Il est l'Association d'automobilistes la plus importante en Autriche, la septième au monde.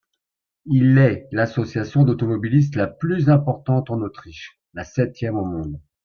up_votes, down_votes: 2, 1